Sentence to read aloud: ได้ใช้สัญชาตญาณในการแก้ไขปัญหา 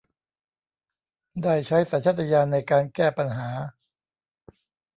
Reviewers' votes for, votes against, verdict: 0, 2, rejected